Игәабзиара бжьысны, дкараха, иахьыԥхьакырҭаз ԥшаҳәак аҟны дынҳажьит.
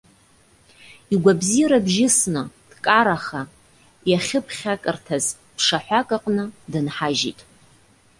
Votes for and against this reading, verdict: 2, 0, accepted